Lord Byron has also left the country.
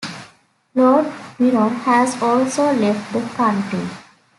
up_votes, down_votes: 1, 2